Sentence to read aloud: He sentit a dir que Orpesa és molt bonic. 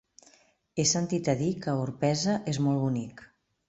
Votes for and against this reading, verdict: 3, 0, accepted